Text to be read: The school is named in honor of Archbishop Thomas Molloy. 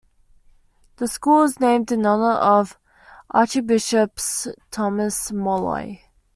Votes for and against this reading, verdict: 1, 2, rejected